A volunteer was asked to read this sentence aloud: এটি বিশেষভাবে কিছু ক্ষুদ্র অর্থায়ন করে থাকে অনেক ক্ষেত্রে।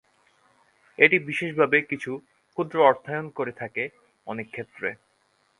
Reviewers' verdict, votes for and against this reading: accepted, 2, 0